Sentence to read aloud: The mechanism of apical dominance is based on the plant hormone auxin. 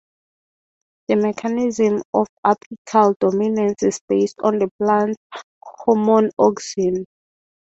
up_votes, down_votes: 3, 0